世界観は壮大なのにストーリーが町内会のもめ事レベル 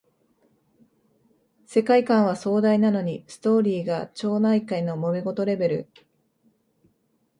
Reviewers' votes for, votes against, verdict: 2, 0, accepted